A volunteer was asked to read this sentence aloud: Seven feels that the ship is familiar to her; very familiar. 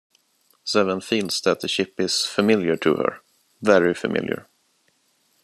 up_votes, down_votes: 2, 1